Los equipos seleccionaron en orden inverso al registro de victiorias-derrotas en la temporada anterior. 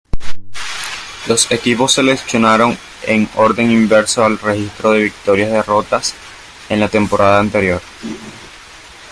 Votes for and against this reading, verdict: 1, 2, rejected